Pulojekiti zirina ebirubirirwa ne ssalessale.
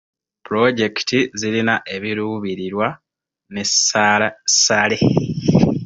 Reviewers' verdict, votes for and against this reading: rejected, 0, 2